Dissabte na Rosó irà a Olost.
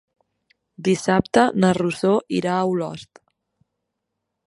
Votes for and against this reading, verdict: 2, 1, accepted